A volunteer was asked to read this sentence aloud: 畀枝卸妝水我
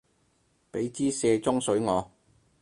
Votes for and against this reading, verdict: 4, 0, accepted